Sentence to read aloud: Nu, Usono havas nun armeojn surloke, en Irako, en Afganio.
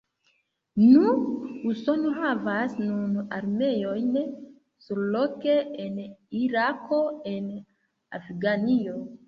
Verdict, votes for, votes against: rejected, 1, 2